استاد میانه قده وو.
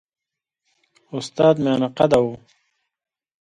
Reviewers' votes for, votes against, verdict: 2, 0, accepted